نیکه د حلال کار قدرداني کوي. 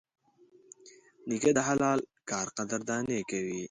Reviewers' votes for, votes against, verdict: 2, 0, accepted